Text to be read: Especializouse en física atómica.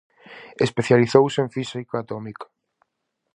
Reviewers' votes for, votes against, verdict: 4, 0, accepted